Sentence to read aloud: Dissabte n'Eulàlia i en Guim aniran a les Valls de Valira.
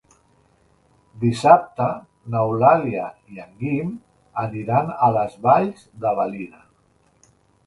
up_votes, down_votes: 2, 0